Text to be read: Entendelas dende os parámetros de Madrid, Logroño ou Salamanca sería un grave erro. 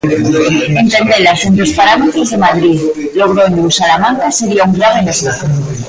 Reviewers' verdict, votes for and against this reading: rejected, 0, 2